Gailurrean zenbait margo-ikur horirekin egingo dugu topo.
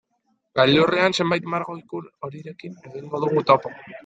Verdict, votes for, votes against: rejected, 0, 2